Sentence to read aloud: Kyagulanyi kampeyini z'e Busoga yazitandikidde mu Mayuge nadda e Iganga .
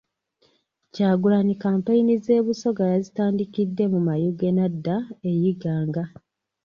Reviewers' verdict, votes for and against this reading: rejected, 1, 2